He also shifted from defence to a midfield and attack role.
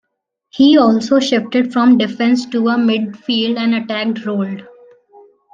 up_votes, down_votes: 1, 2